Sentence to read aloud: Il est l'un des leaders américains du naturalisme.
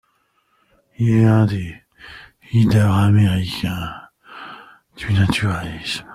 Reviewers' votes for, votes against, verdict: 2, 1, accepted